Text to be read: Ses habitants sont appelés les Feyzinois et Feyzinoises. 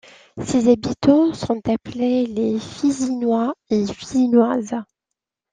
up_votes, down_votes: 0, 2